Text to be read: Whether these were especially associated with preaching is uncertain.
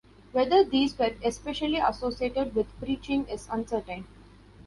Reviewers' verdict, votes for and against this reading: accepted, 2, 0